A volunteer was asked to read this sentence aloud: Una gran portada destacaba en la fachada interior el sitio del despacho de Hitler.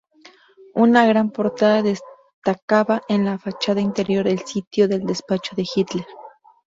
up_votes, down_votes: 2, 0